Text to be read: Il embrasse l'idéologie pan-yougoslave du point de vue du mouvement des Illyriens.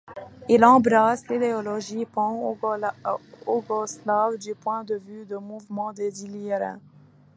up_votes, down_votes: 0, 2